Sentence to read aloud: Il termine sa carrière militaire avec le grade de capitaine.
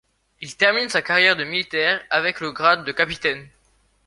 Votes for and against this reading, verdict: 1, 2, rejected